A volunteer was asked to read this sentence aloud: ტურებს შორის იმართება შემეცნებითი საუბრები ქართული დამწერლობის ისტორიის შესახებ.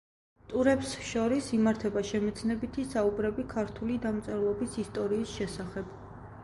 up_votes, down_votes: 2, 0